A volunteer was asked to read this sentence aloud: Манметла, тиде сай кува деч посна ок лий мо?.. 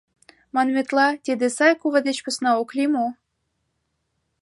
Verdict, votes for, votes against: accepted, 2, 0